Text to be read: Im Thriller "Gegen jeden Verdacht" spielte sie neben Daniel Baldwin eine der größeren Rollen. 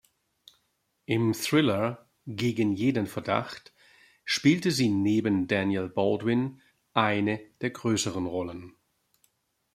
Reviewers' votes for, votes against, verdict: 2, 0, accepted